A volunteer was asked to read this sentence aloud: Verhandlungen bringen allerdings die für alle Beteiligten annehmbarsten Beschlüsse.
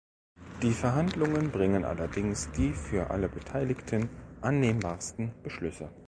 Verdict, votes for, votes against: rejected, 0, 2